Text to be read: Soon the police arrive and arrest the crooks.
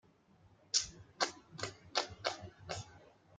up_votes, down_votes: 0, 2